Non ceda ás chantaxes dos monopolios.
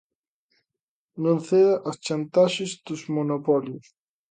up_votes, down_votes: 2, 0